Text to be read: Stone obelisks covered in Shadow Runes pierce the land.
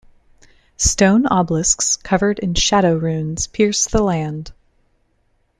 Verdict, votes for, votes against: accepted, 2, 0